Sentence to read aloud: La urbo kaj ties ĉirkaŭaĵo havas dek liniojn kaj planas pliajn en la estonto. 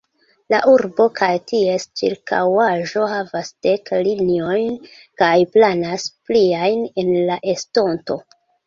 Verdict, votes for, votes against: accepted, 2, 0